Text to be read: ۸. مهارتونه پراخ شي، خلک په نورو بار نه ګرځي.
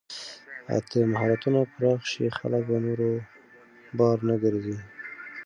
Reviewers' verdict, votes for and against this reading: rejected, 0, 2